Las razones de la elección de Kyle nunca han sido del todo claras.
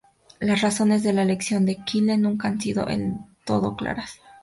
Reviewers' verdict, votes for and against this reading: rejected, 0, 2